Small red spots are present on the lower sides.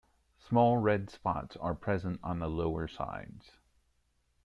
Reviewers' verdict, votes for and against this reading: accepted, 2, 0